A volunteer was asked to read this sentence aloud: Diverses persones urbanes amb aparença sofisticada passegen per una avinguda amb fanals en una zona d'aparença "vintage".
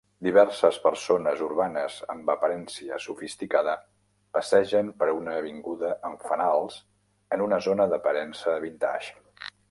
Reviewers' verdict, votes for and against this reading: rejected, 0, 2